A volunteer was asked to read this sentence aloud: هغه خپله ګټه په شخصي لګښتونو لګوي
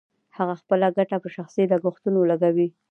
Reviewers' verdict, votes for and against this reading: accepted, 2, 0